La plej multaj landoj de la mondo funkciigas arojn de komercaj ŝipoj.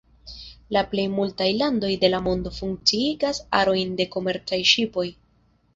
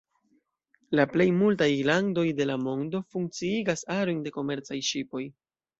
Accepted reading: first